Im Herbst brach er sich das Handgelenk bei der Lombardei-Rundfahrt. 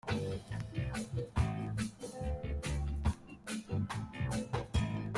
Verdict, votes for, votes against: rejected, 0, 2